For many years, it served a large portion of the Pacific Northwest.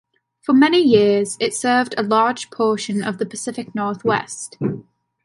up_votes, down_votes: 2, 0